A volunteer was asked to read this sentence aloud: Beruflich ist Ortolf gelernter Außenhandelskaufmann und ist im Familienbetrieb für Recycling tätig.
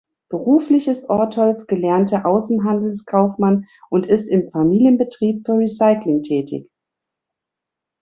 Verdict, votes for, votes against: accepted, 2, 0